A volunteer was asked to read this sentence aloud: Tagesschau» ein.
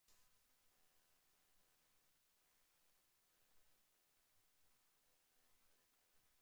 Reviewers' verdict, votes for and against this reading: rejected, 0, 2